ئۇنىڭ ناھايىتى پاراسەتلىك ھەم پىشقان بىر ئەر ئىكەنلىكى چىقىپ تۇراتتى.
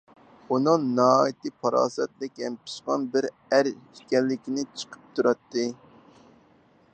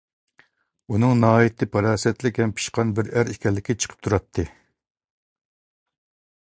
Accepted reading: second